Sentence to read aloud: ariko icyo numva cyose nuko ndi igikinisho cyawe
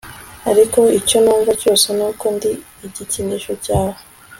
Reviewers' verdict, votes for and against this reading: accepted, 2, 0